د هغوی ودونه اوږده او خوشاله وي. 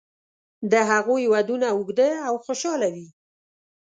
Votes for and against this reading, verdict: 3, 0, accepted